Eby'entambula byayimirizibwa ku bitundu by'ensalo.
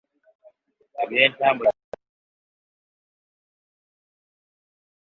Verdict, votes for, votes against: rejected, 0, 2